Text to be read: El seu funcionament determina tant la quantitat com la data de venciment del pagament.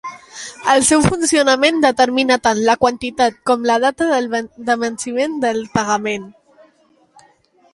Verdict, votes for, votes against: rejected, 0, 2